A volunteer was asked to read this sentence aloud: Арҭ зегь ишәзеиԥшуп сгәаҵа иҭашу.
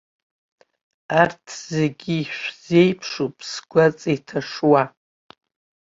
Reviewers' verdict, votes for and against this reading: rejected, 0, 3